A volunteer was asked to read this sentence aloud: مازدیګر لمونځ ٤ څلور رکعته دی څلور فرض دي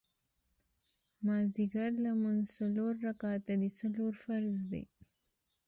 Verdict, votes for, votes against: rejected, 0, 2